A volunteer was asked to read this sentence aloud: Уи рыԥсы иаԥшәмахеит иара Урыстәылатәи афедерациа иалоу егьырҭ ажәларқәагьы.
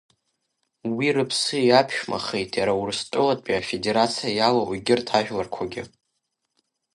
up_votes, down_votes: 2, 0